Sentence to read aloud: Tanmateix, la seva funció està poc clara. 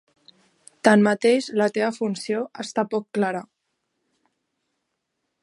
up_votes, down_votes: 0, 2